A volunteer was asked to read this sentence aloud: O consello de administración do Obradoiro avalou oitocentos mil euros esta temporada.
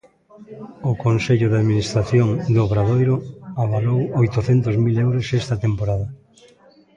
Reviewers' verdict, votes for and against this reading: accepted, 2, 0